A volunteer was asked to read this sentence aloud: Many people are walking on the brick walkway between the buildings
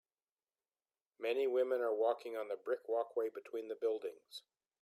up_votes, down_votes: 0, 2